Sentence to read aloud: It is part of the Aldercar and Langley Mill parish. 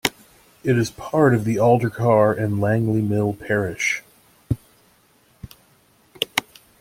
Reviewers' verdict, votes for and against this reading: accepted, 2, 0